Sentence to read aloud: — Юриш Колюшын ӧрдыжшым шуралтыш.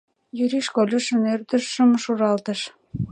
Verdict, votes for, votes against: accepted, 2, 0